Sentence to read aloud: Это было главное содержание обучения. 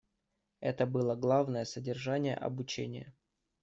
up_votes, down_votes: 2, 0